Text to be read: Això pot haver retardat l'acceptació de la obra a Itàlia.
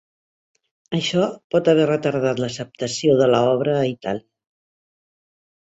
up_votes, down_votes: 0, 3